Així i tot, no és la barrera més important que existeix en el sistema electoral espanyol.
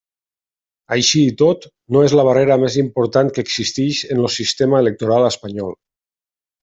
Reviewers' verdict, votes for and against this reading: rejected, 1, 2